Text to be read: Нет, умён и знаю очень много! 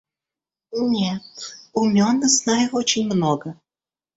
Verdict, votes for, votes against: rejected, 1, 2